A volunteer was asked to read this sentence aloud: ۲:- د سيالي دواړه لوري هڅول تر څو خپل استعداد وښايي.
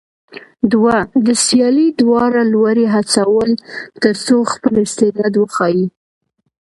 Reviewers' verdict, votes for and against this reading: rejected, 0, 2